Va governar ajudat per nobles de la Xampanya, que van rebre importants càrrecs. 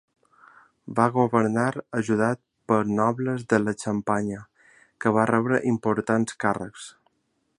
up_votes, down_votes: 1, 2